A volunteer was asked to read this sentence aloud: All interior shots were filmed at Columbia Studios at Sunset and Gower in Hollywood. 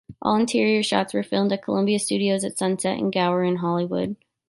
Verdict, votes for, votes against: accepted, 2, 0